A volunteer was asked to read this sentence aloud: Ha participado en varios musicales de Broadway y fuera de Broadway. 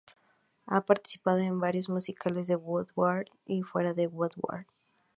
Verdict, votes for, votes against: rejected, 0, 2